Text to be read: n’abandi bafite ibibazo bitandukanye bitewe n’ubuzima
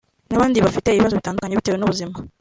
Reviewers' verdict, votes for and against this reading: accepted, 2, 0